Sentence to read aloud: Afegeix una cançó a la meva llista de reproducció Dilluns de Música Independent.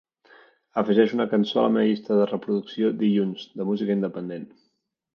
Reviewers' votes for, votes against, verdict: 1, 2, rejected